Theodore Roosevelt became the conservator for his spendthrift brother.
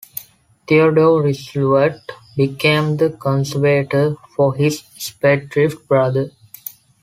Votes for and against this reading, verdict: 2, 0, accepted